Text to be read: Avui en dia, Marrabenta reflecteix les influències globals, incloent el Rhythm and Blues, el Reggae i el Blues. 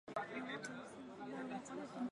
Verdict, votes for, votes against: rejected, 0, 4